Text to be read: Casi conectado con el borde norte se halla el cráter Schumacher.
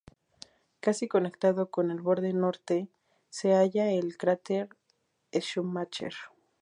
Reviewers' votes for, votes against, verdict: 2, 0, accepted